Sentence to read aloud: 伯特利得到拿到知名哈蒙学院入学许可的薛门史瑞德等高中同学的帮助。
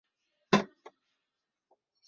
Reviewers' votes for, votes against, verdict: 3, 4, rejected